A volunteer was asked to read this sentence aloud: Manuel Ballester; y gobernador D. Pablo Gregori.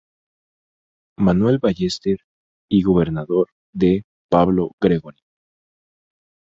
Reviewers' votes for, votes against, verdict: 0, 2, rejected